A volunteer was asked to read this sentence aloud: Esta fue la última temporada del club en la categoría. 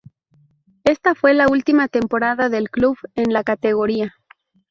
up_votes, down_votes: 2, 0